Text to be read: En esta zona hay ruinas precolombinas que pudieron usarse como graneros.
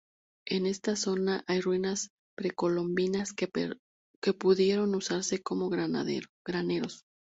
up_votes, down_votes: 0, 2